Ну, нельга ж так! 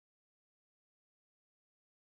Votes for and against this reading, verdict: 0, 2, rejected